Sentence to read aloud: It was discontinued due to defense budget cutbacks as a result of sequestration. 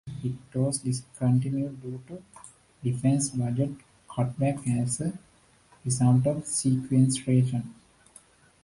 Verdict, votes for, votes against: rejected, 0, 2